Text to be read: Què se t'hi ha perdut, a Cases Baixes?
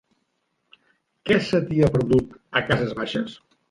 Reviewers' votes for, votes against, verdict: 6, 0, accepted